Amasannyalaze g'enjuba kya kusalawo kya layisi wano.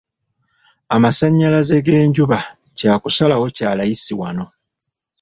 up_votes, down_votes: 2, 0